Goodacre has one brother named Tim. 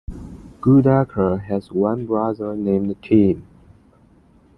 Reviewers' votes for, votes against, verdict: 2, 0, accepted